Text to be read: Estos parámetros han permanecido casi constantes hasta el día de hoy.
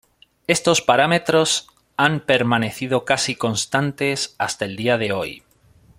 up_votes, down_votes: 2, 0